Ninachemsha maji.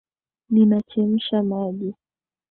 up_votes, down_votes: 2, 0